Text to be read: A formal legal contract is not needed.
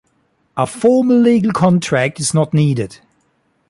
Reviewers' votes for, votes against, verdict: 2, 0, accepted